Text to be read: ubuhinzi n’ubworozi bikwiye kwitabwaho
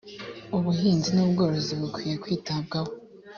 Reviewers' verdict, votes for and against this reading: accepted, 3, 0